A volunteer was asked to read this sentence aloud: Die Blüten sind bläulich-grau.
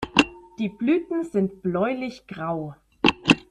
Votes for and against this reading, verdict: 2, 0, accepted